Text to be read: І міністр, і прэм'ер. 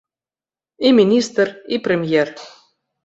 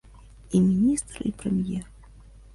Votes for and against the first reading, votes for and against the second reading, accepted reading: 2, 0, 1, 2, first